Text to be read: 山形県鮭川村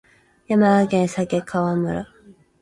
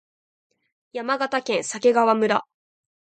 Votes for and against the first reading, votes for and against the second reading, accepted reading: 4, 6, 2, 0, second